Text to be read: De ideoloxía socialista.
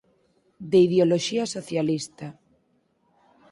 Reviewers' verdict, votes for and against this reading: accepted, 4, 0